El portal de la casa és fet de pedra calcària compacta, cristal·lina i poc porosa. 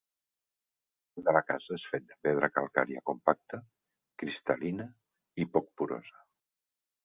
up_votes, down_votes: 0, 2